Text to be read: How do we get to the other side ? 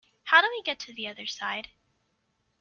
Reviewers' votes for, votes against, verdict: 3, 1, accepted